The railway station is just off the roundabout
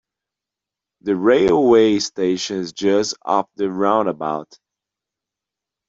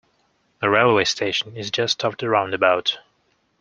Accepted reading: second